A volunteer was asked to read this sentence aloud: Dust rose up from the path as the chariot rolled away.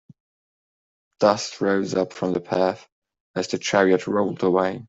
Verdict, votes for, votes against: accepted, 2, 0